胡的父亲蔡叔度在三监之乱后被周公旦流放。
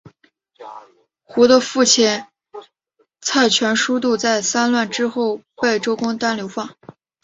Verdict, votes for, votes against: rejected, 0, 2